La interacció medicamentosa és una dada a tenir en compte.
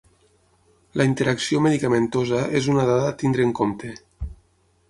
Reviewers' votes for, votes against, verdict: 0, 6, rejected